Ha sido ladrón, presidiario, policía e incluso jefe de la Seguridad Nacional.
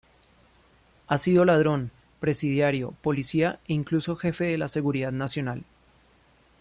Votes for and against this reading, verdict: 2, 0, accepted